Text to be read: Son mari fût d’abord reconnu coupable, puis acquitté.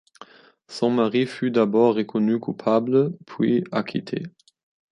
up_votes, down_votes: 2, 1